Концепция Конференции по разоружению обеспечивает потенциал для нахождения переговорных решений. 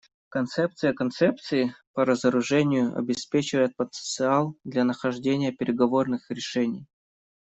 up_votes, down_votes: 0, 2